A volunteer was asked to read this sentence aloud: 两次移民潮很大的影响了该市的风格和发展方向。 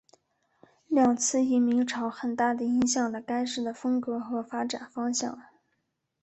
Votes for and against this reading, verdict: 0, 2, rejected